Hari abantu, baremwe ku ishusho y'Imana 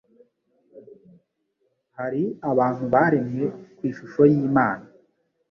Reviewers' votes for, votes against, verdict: 2, 0, accepted